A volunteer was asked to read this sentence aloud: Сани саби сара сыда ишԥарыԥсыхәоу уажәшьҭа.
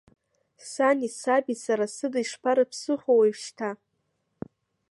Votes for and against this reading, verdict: 2, 0, accepted